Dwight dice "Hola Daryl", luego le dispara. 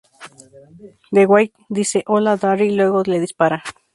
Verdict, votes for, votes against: rejected, 2, 2